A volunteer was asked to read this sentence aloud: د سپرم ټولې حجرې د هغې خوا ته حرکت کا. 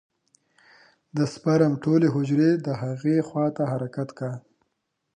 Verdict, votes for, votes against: rejected, 1, 2